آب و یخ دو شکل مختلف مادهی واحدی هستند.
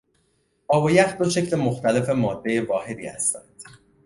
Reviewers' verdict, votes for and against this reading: accepted, 2, 0